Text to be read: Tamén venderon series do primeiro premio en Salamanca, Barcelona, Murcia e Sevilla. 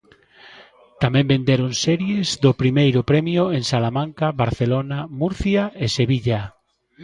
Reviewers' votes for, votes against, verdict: 1, 2, rejected